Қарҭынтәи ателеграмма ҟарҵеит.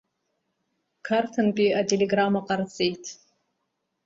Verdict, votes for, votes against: accepted, 2, 0